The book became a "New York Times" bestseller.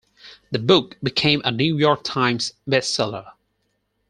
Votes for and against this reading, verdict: 4, 0, accepted